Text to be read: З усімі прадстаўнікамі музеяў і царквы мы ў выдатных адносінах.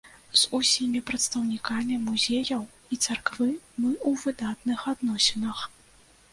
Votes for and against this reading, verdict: 2, 0, accepted